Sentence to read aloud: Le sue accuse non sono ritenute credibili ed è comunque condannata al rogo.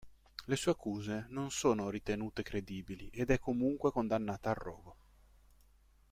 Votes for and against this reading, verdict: 2, 0, accepted